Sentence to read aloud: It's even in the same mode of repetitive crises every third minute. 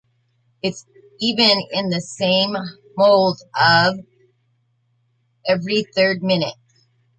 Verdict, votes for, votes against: rejected, 0, 2